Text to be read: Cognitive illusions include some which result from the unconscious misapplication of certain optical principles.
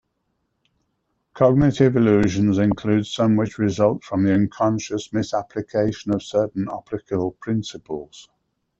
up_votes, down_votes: 2, 0